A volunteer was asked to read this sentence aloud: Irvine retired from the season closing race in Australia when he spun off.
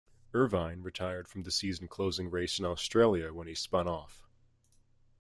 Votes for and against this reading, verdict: 2, 1, accepted